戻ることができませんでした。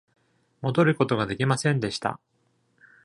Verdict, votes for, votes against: accepted, 2, 0